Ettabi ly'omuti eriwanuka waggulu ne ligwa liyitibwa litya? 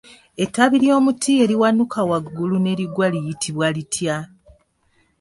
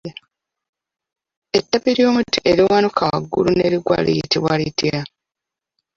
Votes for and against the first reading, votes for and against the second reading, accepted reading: 3, 1, 1, 2, first